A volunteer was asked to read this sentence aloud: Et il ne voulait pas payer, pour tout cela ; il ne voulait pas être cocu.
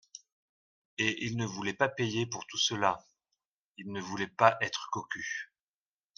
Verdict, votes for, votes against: accepted, 2, 0